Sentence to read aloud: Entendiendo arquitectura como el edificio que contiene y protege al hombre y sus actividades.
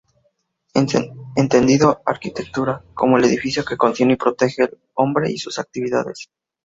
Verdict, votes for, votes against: rejected, 0, 2